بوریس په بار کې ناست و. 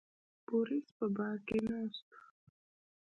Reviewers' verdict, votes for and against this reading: rejected, 1, 2